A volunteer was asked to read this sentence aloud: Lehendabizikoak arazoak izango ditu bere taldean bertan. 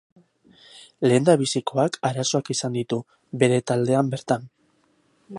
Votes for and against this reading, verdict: 4, 2, accepted